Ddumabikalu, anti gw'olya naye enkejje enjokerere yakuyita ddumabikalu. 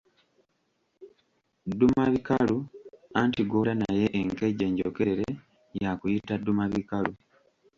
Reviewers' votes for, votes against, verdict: 2, 0, accepted